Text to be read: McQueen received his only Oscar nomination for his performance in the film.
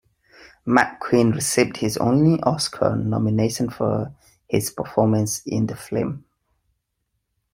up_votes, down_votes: 2, 0